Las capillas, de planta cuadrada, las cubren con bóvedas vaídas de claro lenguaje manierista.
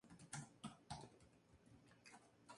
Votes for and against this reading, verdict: 0, 2, rejected